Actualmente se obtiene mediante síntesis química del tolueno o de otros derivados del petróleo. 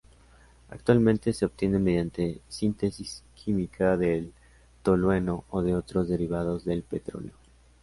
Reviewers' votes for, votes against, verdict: 3, 0, accepted